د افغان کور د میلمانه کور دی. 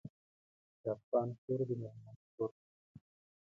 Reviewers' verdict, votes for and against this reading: rejected, 0, 2